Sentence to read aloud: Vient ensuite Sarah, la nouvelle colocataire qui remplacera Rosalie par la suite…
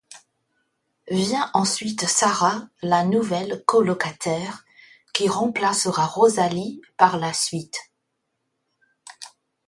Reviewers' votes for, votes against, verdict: 2, 0, accepted